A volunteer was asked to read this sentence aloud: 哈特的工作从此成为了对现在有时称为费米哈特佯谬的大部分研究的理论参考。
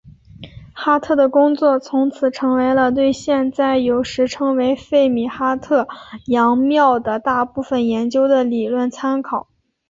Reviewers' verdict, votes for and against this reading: accepted, 5, 1